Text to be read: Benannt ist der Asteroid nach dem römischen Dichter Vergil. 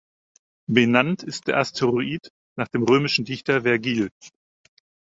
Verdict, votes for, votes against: accepted, 4, 0